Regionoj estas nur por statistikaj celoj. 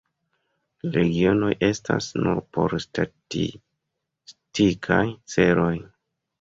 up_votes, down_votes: 2, 0